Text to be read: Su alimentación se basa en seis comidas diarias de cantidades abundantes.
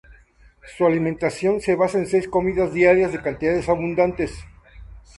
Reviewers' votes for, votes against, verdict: 2, 0, accepted